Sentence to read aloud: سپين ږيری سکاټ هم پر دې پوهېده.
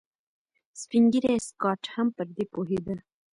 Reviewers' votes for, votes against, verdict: 1, 2, rejected